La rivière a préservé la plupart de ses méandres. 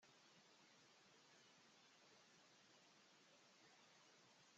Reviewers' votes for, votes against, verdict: 1, 2, rejected